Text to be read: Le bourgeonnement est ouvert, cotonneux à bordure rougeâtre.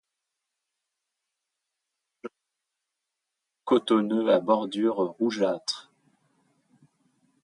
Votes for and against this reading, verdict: 0, 2, rejected